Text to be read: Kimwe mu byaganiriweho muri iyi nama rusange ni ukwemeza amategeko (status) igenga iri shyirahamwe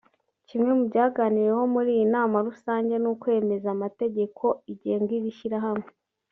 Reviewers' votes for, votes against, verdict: 1, 2, rejected